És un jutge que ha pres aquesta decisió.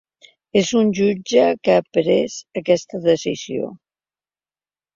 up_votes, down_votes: 3, 0